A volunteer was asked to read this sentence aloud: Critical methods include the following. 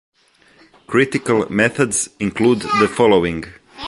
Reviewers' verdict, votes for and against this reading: accepted, 3, 0